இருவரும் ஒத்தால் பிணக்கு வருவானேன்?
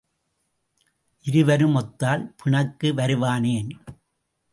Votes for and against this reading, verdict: 1, 2, rejected